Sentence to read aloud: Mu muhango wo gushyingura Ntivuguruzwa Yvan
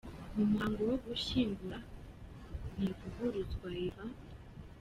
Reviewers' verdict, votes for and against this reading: rejected, 0, 2